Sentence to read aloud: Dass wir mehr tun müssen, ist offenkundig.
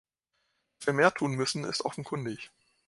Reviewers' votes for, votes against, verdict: 2, 3, rejected